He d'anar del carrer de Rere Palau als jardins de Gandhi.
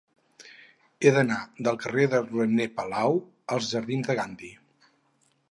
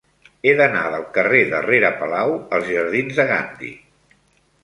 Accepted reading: second